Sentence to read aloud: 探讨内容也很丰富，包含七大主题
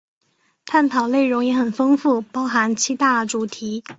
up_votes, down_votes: 2, 0